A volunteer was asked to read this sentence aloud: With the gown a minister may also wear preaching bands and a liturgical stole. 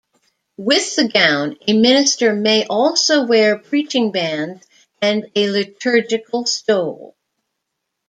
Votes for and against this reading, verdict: 2, 0, accepted